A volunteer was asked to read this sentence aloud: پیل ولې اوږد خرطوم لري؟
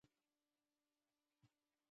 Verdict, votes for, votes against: rejected, 0, 2